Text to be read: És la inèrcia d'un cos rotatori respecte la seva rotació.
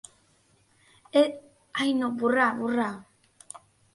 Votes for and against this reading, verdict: 0, 2, rejected